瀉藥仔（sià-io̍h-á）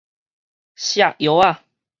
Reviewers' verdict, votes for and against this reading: rejected, 2, 2